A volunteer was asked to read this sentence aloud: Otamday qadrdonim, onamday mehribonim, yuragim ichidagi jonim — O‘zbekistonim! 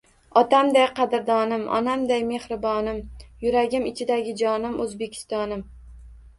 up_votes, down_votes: 2, 0